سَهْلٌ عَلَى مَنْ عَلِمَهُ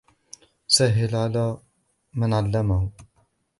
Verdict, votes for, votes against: rejected, 0, 2